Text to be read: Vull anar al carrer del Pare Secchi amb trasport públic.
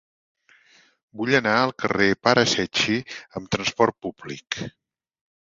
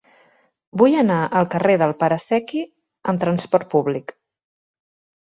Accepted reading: second